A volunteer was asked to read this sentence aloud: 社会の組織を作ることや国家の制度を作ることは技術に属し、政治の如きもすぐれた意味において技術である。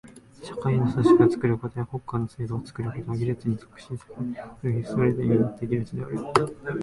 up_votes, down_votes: 0, 2